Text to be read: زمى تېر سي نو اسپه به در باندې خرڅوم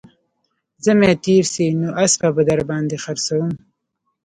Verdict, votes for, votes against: rejected, 1, 2